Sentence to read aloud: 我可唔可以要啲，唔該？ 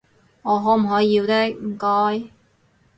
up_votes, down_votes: 2, 2